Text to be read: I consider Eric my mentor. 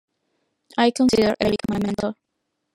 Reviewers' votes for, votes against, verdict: 1, 2, rejected